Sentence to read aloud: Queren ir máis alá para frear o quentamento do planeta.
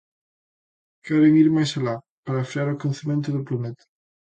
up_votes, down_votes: 1, 2